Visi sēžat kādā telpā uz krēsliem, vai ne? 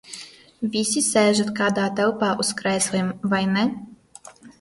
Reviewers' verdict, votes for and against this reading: accepted, 2, 0